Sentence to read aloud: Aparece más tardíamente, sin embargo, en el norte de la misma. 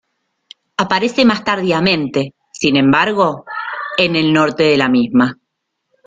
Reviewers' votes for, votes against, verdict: 2, 0, accepted